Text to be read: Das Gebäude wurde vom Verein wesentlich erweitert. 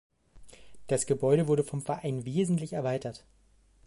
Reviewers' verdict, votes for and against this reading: accepted, 2, 0